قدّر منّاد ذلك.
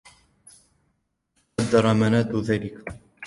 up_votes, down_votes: 2, 0